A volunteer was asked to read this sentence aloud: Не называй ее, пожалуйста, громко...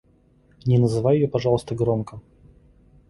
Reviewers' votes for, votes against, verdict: 2, 0, accepted